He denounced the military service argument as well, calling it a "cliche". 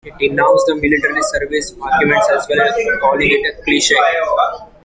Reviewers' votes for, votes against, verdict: 0, 2, rejected